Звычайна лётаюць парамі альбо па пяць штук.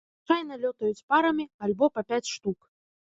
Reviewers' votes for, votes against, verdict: 0, 2, rejected